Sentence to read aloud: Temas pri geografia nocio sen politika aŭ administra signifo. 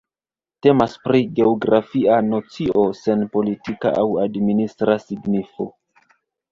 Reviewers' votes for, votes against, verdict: 2, 1, accepted